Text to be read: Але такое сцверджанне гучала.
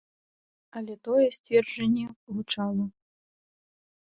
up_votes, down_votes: 0, 2